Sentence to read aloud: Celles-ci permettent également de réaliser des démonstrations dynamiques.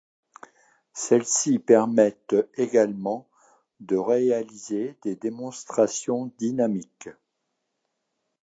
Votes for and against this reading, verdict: 2, 0, accepted